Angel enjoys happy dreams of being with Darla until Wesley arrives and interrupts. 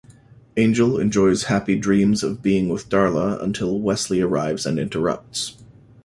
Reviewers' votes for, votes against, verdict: 2, 0, accepted